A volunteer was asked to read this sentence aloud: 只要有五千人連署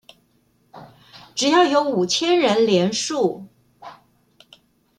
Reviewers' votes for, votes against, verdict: 2, 0, accepted